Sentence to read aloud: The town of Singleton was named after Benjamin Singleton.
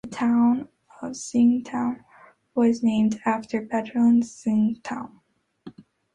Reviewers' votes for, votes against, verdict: 1, 2, rejected